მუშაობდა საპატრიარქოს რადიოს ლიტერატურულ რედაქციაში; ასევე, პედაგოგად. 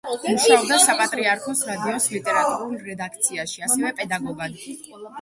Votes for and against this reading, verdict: 1, 2, rejected